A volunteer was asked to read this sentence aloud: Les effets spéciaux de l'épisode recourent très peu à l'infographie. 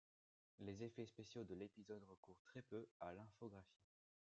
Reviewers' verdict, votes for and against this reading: accepted, 2, 0